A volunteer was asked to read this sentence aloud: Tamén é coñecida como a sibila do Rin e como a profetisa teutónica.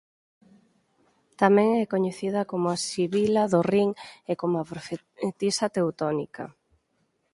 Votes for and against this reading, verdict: 0, 4, rejected